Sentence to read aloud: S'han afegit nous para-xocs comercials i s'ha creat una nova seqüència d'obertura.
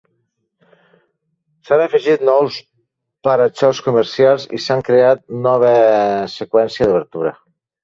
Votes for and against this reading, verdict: 1, 2, rejected